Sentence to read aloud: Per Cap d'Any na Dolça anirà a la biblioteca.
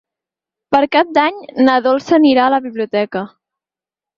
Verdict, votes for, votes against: accepted, 6, 0